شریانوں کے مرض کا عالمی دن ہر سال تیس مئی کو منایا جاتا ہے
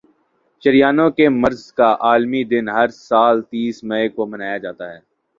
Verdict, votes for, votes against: accepted, 3, 0